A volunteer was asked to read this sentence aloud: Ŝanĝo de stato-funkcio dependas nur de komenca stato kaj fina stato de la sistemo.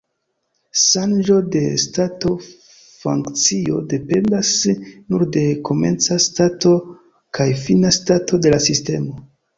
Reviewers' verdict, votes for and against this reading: accepted, 2, 0